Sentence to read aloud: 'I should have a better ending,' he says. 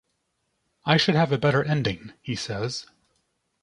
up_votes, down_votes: 2, 0